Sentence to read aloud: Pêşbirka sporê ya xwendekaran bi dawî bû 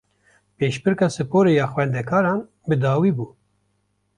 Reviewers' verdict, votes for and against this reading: accepted, 2, 0